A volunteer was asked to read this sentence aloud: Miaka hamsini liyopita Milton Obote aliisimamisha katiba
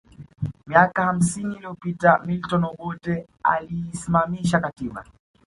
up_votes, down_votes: 2, 1